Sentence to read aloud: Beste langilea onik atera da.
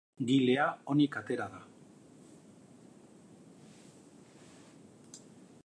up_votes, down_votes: 0, 2